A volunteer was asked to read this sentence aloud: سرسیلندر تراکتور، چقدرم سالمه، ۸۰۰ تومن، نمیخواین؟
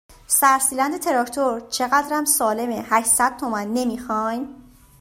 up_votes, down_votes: 0, 2